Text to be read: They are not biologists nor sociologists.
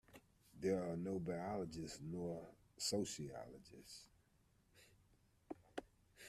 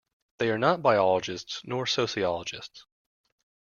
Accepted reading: second